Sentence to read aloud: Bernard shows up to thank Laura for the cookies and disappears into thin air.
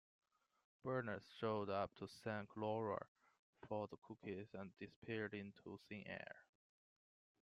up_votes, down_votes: 2, 1